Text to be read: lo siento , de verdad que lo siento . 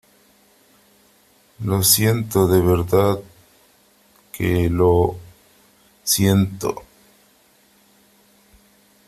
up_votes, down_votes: 2, 1